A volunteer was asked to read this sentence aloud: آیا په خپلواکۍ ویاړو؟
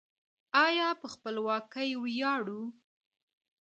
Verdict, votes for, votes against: rejected, 0, 2